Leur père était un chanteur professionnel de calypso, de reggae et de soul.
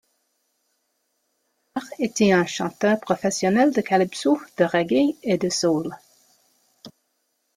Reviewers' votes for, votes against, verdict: 1, 2, rejected